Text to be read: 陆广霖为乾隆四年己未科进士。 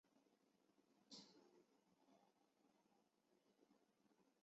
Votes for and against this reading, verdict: 0, 2, rejected